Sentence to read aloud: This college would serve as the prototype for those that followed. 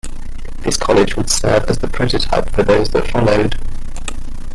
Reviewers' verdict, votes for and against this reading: rejected, 0, 2